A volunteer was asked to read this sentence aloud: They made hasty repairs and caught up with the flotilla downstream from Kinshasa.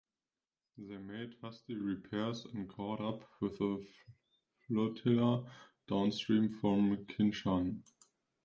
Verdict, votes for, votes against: rejected, 1, 2